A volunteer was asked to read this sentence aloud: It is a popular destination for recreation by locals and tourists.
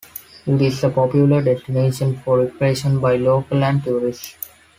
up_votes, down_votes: 0, 2